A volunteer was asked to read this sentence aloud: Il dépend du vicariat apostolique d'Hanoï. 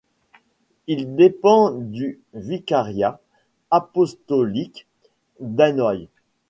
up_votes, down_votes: 2, 0